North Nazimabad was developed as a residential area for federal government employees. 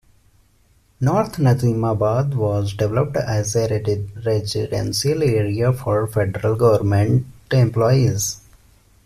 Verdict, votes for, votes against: rejected, 1, 2